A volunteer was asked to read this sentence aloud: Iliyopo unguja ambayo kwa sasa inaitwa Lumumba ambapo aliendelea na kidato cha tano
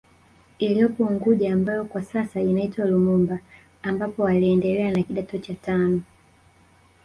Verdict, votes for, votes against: rejected, 0, 2